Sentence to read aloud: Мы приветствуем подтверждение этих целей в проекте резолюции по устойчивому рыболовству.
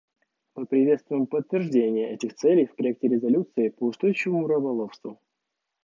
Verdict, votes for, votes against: rejected, 1, 2